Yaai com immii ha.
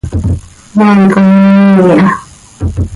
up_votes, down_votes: 1, 2